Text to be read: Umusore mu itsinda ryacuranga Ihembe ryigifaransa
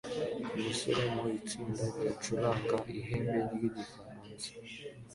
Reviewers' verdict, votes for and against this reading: accepted, 2, 0